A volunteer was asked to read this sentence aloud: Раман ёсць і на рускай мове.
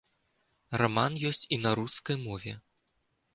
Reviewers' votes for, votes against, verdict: 2, 0, accepted